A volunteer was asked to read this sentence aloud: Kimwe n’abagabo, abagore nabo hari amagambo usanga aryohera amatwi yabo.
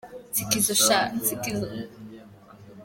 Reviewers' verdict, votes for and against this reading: rejected, 0, 2